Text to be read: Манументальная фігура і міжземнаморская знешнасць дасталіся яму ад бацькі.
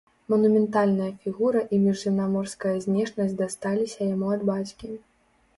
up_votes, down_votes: 2, 0